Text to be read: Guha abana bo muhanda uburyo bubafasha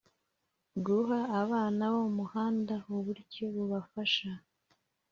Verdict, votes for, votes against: accepted, 3, 1